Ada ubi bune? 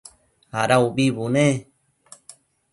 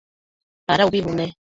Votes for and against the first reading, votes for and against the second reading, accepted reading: 2, 0, 0, 2, first